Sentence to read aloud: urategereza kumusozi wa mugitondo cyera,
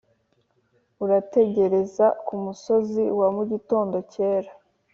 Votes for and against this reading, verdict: 3, 0, accepted